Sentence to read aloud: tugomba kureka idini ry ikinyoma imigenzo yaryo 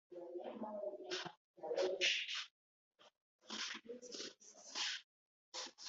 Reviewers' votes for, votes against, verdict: 0, 2, rejected